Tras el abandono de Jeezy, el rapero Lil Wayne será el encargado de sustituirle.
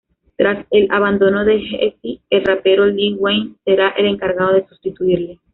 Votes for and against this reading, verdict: 2, 0, accepted